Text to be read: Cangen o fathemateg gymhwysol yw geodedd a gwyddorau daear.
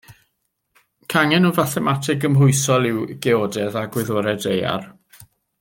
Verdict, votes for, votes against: accepted, 2, 0